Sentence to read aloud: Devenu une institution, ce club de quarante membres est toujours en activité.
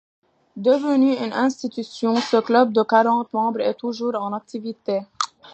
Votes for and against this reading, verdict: 2, 1, accepted